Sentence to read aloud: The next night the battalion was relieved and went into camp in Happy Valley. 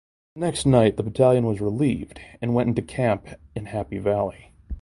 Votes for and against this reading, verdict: 2, 0, accepted